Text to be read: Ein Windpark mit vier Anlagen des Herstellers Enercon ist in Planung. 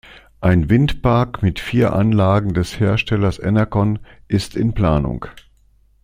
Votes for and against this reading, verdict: 2, 0, accepted